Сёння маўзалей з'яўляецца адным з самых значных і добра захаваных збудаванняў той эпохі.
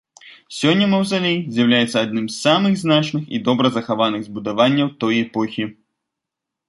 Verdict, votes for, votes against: accepted, 2, 0